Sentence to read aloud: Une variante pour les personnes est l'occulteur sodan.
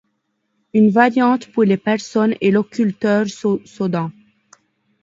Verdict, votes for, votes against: rejected, 0, 2